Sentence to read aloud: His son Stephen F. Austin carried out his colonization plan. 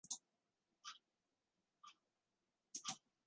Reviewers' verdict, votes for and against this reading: rejected, 1, 2